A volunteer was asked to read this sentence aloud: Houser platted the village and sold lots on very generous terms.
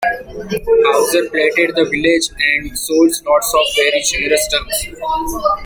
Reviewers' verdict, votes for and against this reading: rejected, 0, 2